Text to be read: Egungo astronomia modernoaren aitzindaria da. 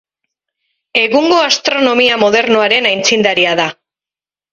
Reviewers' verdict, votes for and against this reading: accepted, 4, 0